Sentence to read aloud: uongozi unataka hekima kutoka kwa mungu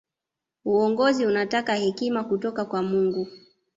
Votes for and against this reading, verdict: 3, 0, accepted